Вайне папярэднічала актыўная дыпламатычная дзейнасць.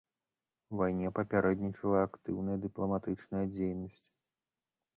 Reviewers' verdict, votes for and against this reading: accepted, 2, 1